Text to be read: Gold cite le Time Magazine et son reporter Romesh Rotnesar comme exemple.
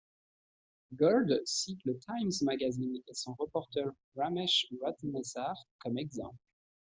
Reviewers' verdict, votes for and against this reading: accepted, 2, 0